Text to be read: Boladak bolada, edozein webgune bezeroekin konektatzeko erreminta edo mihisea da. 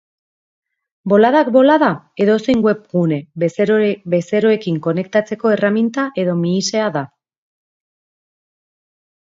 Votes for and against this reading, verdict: 0, 2, rejected